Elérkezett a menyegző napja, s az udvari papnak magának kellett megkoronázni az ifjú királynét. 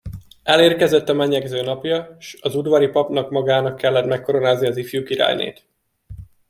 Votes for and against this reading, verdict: 2, 0, accepted